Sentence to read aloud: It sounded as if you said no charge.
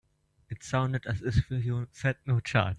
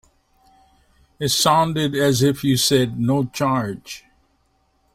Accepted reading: second